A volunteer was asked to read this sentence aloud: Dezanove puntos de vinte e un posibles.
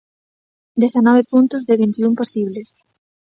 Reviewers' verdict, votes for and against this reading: accepted, 2, 0